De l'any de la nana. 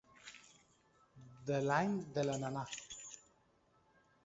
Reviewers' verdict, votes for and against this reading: rejected, 1, 2